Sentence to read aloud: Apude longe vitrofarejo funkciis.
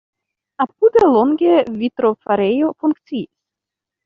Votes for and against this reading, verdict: 0, 2, rejected